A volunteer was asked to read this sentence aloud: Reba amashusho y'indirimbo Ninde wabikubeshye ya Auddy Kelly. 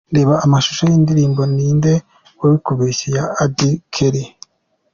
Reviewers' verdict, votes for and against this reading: accepted, 3, 0